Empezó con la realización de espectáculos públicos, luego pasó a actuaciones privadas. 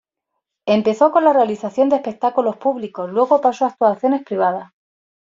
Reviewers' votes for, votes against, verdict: 2, 1, accepted